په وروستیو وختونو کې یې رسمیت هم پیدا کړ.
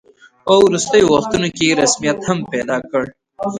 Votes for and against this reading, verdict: 1, 2, rejected